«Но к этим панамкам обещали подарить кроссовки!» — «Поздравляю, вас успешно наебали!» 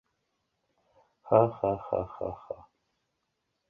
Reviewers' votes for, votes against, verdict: 0, 2, rejected